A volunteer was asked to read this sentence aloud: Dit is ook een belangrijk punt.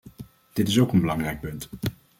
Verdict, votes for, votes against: accepted, 2, 0